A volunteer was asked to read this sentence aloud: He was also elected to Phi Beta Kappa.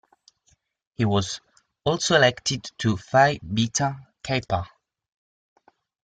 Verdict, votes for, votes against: accepted, 2, 0